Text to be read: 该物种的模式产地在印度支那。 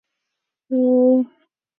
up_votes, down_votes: 0, 3